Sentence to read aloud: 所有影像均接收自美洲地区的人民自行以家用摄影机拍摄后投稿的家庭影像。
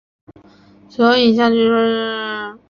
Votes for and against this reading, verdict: 2, 4, rejected